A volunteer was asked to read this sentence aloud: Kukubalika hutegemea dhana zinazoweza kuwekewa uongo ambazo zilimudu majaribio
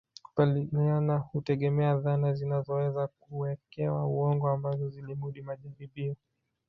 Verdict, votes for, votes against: accepted, 2, 0